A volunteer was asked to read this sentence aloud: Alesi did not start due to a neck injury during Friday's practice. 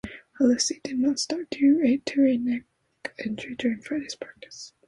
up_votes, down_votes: 0, 2